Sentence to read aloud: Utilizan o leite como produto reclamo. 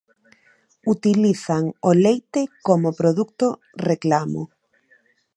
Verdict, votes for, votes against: rejected, 1, 2